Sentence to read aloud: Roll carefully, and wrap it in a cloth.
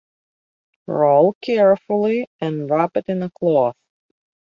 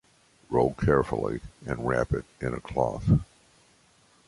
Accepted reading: second